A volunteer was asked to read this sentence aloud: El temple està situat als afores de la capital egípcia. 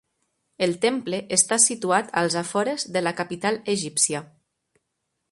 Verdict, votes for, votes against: accepted, 3, 0